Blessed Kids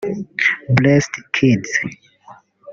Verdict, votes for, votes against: rejected, 1, 2